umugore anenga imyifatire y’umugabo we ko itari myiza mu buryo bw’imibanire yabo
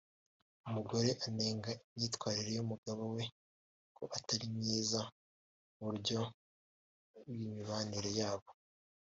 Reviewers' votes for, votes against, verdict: 0, 2, rejected